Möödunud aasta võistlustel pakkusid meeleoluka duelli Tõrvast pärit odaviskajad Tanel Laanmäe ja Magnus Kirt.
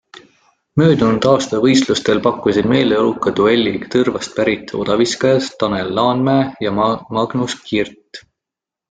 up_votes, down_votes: 1, 2